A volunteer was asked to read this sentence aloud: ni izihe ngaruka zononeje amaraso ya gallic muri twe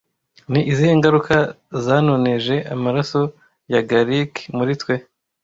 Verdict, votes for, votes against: rejected, 0, 2